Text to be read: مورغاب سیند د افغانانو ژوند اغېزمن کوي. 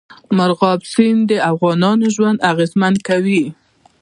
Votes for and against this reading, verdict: 1, 2, rejected